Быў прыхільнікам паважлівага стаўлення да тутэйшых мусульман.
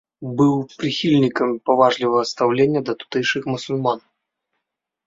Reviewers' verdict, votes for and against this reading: rejected, 1, 2